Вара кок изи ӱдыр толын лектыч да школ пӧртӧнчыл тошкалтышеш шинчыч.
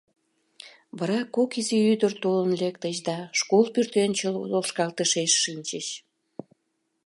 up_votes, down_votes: 0, 2